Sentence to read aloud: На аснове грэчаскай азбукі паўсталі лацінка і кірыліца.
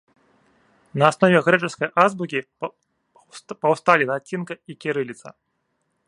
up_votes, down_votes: 1, 4